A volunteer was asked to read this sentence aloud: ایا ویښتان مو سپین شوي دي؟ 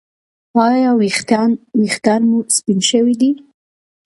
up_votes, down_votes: 1, 2